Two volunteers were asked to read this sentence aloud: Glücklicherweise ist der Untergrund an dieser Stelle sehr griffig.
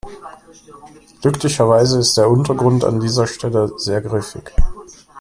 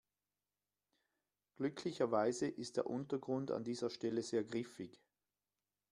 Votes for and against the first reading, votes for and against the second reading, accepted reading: 0, 2, 2, 1, second